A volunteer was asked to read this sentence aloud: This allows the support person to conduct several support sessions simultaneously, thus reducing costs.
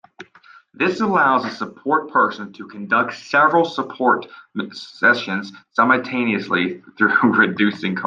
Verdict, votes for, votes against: rejected, 0, 2